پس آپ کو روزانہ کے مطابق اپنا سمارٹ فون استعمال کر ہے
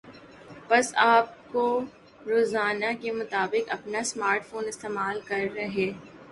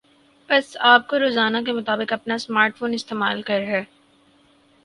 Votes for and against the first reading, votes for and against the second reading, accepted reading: 2, 0, 2, 2, first